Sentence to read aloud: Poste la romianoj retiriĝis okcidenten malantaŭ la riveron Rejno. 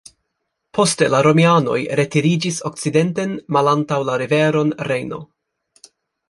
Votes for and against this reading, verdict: 2, 0, accepted